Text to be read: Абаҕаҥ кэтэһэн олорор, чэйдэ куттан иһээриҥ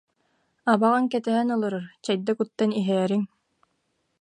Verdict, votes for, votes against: accepted, 2, 0